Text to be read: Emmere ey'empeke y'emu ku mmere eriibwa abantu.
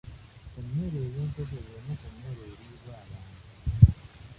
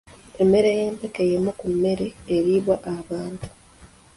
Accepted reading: second